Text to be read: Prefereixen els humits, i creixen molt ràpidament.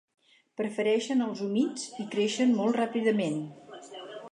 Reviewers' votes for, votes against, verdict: 4, 0, accepted